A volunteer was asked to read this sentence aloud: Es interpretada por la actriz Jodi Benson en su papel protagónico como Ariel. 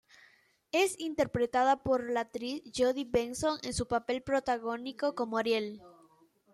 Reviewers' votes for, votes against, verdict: 2, 0, accepted